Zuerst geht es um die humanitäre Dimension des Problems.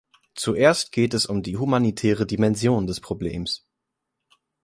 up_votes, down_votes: 2, 0